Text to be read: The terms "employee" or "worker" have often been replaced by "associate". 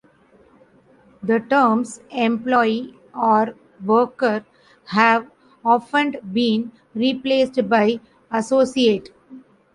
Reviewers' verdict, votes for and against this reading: accepted, 2, 1